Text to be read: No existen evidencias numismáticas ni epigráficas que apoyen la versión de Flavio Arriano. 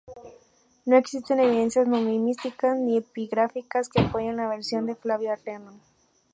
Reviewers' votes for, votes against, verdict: 0, 2, rejected